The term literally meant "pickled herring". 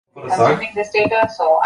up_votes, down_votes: 0, 2